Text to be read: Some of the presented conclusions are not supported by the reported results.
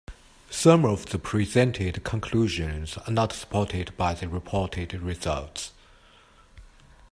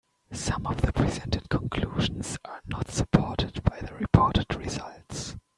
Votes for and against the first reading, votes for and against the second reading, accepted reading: 2, 0, 1, 2, first